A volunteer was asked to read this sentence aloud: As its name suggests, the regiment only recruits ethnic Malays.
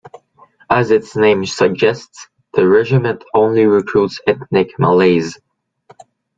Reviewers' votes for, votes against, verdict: 2, 0, accepted